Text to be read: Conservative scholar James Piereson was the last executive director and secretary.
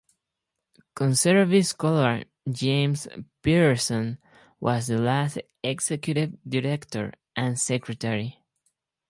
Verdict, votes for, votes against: rejected, 0, 2